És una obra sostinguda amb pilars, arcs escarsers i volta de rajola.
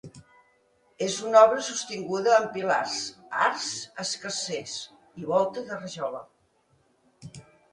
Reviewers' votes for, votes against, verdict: 3, 0, accepted